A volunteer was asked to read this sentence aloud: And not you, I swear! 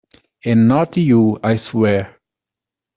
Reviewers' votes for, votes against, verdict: 2, 0, accepted